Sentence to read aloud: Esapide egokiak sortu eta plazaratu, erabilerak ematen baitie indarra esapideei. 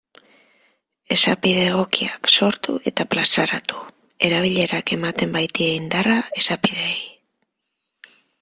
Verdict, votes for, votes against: accepted, 2, 0